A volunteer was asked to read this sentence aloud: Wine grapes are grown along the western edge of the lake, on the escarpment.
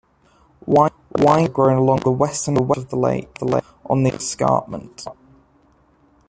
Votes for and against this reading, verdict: 0, 2, rejected